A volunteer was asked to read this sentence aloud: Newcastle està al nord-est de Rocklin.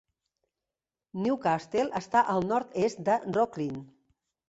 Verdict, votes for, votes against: rejected, 1, 2